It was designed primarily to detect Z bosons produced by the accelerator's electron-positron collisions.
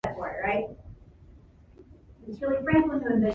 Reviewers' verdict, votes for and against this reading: rejected, 0, 2